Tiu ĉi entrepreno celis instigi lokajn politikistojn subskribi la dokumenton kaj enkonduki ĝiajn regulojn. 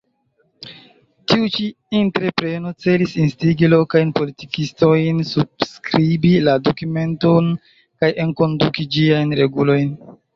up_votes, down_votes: 1, 2